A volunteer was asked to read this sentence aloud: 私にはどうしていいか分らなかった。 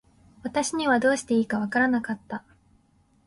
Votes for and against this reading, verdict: 2, 0, accepted